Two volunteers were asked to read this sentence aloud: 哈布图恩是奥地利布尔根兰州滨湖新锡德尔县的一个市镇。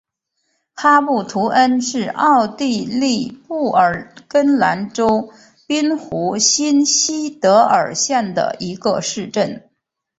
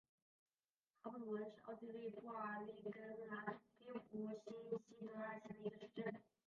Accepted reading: first